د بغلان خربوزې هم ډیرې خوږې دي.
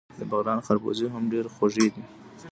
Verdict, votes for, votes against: rejected, 1, 2